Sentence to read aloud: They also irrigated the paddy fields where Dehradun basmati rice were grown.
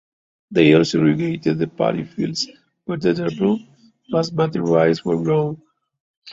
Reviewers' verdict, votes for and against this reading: rejected, 1, 2